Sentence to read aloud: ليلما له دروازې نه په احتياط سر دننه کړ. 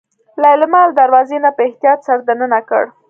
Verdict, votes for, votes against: accepted, 2, 0